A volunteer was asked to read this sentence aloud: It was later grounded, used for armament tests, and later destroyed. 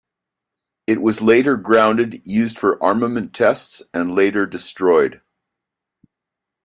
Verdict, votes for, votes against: accepted, 2, 0